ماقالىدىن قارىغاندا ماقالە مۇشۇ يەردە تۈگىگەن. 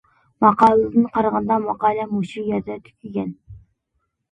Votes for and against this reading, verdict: 2, 1, accepted